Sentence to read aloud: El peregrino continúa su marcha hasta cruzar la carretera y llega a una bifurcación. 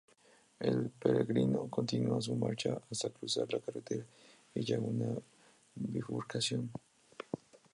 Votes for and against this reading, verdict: 2, 0, accepted